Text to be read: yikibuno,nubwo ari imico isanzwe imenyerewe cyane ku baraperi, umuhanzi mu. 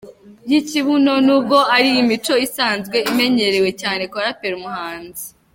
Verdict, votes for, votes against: rejected, 1, 2